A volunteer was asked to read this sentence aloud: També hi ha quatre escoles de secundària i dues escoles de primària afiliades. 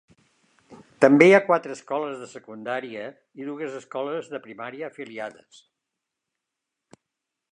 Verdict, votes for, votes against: accepted, 2, 1